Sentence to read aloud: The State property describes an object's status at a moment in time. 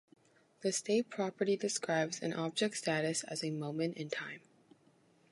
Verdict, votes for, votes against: rejected, 1, 2